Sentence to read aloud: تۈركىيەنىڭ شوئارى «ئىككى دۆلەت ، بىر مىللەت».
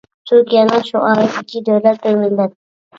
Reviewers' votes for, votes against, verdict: 1, 2, rejected